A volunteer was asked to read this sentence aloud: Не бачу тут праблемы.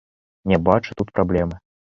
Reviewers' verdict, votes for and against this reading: accepted, 2, 0